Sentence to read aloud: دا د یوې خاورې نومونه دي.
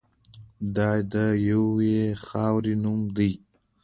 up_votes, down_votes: 2, 0